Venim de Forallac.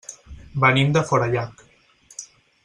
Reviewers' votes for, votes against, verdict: 6, 0, accepted